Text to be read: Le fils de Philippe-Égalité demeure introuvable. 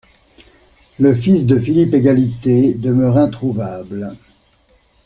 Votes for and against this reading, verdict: 2, 0, accepted